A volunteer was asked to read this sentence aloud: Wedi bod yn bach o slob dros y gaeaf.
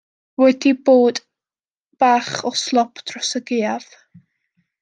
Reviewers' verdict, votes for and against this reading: rejected, 1, 2